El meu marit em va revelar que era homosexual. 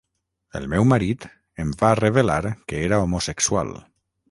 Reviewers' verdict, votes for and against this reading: rejected, 3, 3